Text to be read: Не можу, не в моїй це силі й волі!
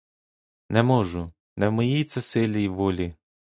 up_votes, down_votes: 2, 0